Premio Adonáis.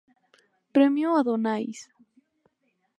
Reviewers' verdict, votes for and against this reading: accepted, 2, 0